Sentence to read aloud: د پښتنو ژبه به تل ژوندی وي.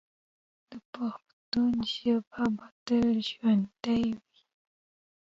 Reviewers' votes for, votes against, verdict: 1, 2, rejected